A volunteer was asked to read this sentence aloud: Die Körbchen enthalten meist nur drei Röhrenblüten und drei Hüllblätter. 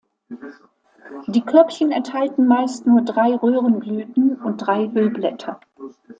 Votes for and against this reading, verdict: 2, 0, accepted